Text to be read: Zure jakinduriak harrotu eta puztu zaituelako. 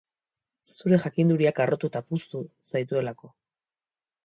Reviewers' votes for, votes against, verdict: 2, 1, accepted